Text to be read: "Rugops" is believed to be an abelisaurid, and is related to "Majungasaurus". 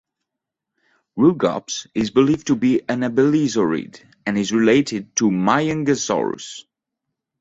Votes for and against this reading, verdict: 2, 0, accepted